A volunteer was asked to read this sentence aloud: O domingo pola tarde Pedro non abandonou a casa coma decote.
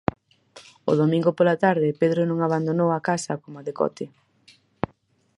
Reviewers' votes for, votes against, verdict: 4, 0, accepted